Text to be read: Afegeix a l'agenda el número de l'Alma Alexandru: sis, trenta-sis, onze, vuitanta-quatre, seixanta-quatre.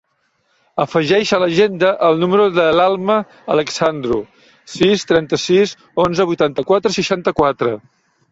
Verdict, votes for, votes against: accepted, 2, 1